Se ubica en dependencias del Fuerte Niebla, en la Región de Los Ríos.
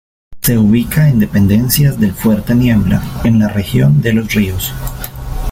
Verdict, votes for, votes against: accepted, 3, 0